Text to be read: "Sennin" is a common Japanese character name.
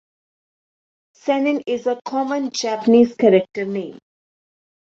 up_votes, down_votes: 2, 0